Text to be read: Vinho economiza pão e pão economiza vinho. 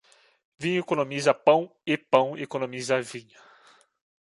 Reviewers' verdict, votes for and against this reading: accepted, 2, 0